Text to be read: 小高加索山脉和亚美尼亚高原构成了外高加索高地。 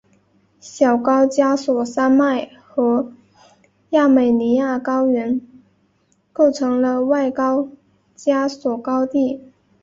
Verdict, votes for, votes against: accepted, 2, 0